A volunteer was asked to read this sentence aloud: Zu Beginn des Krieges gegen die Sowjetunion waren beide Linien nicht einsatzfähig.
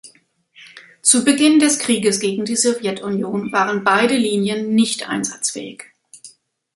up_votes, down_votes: 2, 0